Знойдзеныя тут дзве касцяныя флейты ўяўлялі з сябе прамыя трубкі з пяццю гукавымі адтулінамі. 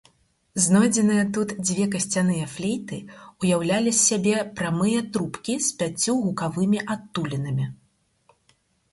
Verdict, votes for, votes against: accepted, 4, 0